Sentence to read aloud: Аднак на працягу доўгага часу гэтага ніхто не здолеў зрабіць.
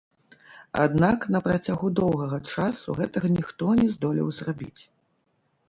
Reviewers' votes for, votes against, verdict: 1, 2, rejected